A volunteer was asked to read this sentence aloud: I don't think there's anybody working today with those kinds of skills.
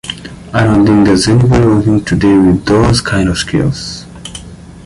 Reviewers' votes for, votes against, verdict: 2, 1, accepted